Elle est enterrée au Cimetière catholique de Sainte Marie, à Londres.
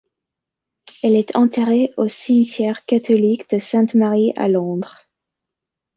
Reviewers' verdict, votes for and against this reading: accepted, 2, 0